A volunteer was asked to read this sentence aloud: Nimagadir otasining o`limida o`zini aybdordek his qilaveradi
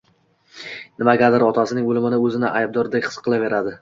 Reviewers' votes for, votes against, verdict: 1, 2, rejected